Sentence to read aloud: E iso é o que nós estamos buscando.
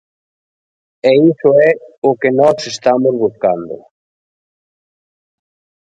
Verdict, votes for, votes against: rejected, 1, 2